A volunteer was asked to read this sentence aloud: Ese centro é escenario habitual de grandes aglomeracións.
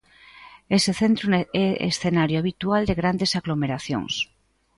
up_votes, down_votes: 1, 2